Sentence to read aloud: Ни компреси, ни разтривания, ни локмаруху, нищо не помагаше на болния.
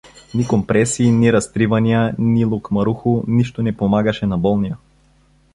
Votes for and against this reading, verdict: 2, 0, accepted